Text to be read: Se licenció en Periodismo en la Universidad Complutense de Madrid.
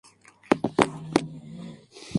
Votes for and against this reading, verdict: 0, 2, rejected